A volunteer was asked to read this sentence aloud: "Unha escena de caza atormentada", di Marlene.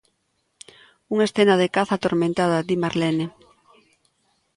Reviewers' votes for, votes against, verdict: 2, 0, accepted